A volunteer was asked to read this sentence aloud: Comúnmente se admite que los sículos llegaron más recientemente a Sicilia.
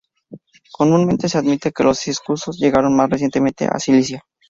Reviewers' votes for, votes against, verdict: 0, 4, rejected